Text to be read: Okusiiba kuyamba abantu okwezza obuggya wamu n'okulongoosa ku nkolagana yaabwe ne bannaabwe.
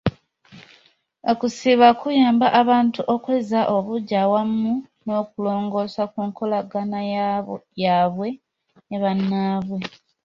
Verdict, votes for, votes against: rejected, 0, 2